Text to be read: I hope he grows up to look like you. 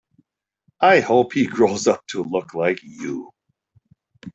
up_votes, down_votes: 2, 0